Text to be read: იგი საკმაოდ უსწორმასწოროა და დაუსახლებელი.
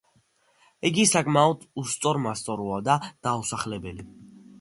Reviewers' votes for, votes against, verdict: 2, 0, accepted